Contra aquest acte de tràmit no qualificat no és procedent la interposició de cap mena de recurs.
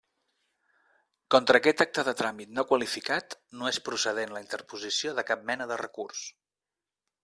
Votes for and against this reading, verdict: 3, 0, accepted